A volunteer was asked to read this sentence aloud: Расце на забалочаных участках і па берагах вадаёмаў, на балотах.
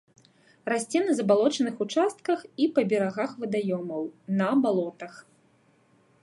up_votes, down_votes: 2, 0